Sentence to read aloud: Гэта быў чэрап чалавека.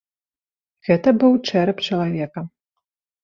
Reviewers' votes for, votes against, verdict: 2, 0, accepted